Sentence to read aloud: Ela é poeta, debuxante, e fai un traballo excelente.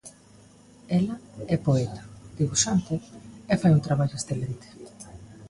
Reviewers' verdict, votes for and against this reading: accepted, 2, 0